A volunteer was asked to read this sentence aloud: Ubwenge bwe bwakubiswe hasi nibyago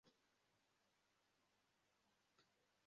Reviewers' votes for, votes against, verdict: 0, 2, rejected